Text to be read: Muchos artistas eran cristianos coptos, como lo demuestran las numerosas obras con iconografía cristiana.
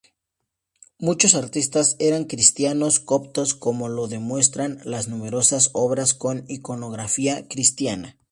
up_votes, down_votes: 2, 0